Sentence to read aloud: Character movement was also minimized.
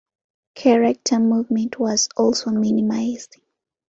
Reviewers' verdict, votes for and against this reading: accepted, 2, 0